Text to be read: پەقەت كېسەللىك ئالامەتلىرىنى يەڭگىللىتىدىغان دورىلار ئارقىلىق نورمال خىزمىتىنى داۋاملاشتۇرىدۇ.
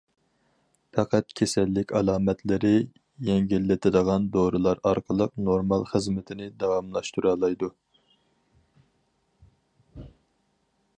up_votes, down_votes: 0, 4